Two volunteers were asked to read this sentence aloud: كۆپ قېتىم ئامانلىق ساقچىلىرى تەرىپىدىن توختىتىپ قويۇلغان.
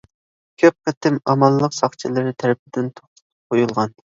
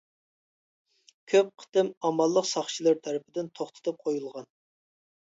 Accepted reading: second